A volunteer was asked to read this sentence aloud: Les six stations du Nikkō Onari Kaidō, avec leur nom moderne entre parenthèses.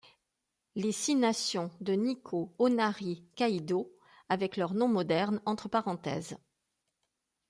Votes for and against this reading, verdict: 0, 2, rejected